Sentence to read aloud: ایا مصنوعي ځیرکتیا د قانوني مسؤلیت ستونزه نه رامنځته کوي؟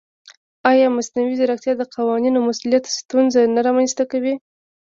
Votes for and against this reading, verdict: 2, 1, accepted